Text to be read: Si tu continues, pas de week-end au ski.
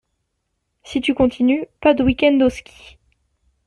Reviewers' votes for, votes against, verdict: 2, 0, accepted